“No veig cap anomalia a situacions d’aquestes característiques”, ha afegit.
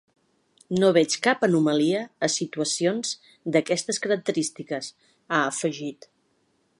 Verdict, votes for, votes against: accepted, 3, 0